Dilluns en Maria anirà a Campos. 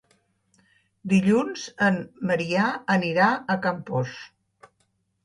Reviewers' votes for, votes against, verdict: 0, 3, rejected